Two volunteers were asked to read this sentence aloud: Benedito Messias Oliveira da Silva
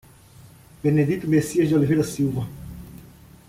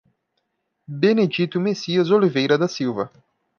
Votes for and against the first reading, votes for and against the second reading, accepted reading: 1, 2, 2, 0, second